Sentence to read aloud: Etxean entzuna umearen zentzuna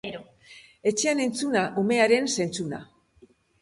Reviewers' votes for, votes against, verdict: 0, 2, rejected